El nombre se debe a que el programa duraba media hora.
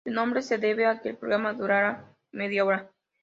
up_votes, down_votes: 2, 1